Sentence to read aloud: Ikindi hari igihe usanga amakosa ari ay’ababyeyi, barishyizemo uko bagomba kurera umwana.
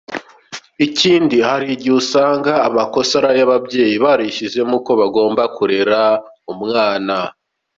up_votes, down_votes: 3, 0